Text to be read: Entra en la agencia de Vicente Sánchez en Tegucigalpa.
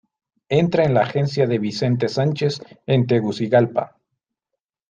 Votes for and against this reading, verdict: 2, 0, accepted